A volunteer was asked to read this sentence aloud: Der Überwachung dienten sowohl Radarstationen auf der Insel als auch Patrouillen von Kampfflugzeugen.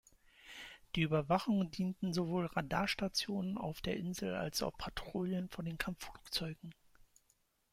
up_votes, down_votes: 1, 2